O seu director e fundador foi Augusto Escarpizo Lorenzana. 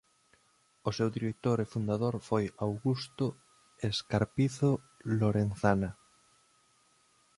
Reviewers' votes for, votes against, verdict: 1, 2, rejected